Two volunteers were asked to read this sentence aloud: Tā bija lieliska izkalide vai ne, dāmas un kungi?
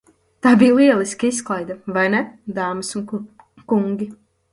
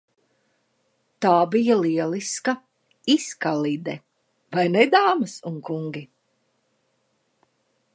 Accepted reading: second